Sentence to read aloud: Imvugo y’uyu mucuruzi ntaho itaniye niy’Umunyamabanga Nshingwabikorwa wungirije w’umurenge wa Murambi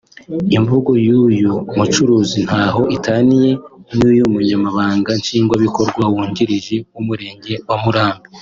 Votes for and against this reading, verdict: 2, 0, accepted